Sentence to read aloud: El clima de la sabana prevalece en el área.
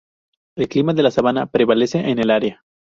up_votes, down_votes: 4, 0